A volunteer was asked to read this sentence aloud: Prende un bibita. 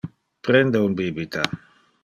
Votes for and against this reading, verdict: 2, 0, accepted